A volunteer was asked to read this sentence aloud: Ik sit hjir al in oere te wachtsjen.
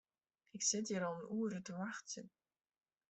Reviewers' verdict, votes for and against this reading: rejected, 1, 2